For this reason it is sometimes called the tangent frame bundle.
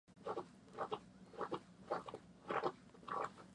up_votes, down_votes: 0, 2